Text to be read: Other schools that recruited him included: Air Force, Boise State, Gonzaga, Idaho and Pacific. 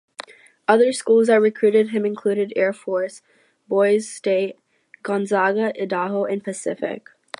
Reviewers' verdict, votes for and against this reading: rejected, 0, 4